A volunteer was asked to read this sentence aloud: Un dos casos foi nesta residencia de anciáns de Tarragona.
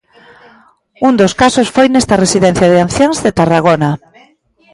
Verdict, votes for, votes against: rejected, 0, 2